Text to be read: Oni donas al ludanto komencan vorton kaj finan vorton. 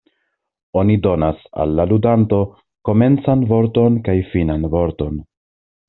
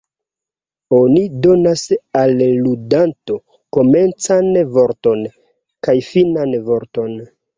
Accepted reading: second